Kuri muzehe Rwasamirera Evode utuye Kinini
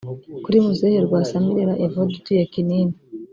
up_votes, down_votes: 1, 2